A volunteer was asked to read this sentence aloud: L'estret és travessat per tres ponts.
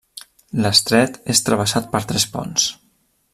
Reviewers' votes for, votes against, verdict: 2, 0, accepted